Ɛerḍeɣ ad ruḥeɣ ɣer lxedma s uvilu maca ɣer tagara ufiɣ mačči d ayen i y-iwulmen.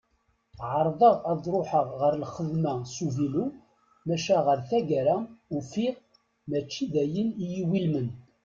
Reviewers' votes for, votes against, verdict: 2, 0, accepted